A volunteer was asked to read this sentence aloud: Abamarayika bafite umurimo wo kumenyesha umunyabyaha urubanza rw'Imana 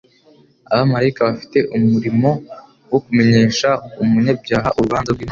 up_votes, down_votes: 1, 2